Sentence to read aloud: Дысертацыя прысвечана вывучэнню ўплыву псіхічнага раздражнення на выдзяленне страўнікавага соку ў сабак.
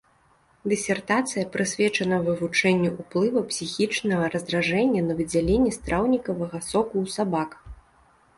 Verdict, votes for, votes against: rejected, 0, 2